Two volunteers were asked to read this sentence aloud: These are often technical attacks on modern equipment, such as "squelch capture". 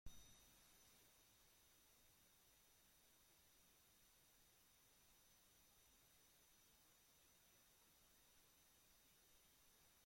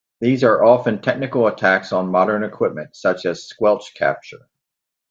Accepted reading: second